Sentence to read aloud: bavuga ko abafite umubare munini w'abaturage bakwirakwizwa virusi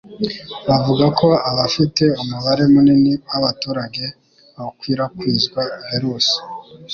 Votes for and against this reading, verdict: 3, 0, accepted